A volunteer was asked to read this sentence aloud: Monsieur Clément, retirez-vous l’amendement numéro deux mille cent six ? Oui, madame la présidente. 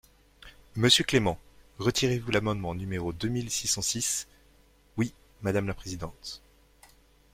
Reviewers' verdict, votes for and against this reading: rejected, 0, 2